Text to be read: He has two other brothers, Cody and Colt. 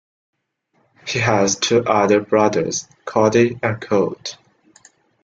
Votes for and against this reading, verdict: 2, 0, accepted